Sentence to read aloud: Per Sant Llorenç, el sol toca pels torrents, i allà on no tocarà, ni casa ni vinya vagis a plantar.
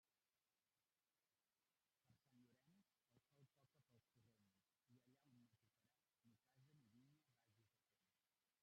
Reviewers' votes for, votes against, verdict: 0, 2, rejected